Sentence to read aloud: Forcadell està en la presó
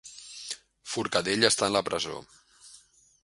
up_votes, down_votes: 2, 1